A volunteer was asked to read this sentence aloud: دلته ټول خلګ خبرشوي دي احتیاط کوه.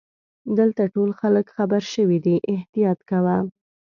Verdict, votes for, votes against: accepted, 2, 0